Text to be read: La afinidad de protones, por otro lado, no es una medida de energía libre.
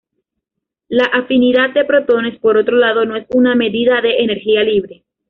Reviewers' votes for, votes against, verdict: 2, 1, accepted